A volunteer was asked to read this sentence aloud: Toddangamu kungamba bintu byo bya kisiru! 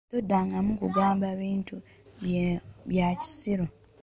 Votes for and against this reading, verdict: 1, 2, rejected